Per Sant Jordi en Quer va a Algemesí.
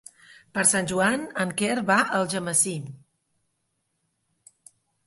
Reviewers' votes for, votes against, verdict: 0, 2, rejected